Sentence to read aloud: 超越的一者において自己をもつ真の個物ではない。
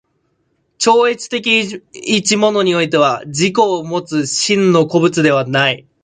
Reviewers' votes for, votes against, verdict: 0, 2, rejected